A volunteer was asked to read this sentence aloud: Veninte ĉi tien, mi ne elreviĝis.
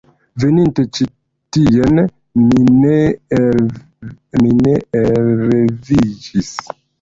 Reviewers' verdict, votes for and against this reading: accepted, 2, 0